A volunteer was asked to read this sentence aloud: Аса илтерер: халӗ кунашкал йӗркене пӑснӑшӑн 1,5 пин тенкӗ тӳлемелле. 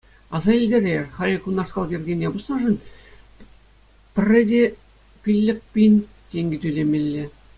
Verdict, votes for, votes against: rejected, 0, 2